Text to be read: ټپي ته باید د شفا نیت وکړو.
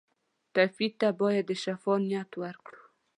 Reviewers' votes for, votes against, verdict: 2, 0, accepted